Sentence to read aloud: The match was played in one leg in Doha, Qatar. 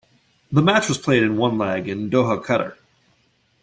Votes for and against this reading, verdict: 1, 2, rejected